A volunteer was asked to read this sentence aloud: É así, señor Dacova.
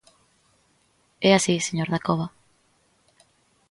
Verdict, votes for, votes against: accepted, 2, 0